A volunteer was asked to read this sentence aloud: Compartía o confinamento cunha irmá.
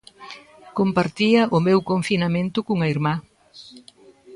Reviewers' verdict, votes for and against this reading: rejected, 0, 2